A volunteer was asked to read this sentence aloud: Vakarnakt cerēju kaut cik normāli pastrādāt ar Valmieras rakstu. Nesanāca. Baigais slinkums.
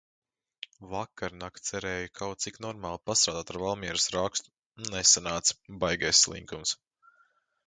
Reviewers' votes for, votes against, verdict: 0, 2, rejected